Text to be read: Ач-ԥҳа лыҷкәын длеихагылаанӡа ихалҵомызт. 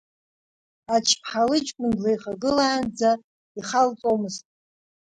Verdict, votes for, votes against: rejected, 0, 2